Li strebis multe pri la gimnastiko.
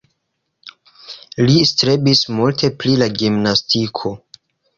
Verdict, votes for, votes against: rejected, 1, 2